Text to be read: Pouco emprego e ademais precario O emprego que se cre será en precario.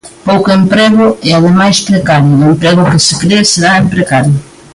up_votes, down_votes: 1, 2